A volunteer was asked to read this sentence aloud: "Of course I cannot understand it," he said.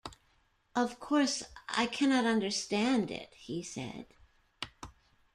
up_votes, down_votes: 1, 2